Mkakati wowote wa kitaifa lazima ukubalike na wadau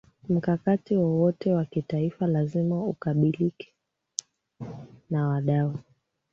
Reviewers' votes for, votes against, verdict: 2, 1, accepted